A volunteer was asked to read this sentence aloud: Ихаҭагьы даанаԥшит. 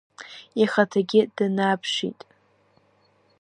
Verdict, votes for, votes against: rejected, 0, 2